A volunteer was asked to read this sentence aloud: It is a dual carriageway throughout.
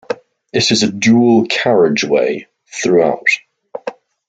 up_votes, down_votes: 2, 0